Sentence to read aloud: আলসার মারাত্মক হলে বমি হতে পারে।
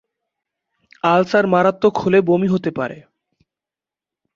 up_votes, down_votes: 3, 0